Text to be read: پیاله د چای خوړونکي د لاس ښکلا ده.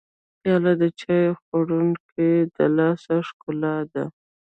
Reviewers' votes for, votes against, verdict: 0, 2, rejected